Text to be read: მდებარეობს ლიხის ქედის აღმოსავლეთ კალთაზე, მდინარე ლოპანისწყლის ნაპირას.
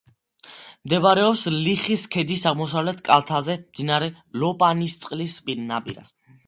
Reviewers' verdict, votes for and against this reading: rejected, 1, 2